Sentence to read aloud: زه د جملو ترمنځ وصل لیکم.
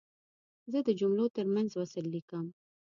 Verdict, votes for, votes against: accepted, 2, 0